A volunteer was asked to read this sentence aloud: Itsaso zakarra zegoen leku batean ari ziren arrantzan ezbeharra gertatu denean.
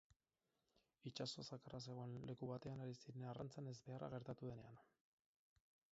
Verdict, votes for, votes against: accepted, 4, 2